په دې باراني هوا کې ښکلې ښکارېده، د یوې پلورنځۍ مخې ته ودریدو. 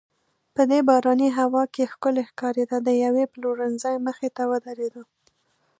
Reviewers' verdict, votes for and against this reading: accepted, 2, 0